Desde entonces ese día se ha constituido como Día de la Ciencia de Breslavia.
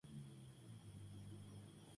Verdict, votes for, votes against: rejected, 0, 2